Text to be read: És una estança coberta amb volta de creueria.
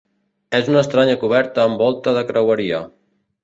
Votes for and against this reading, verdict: 0, 2, rejected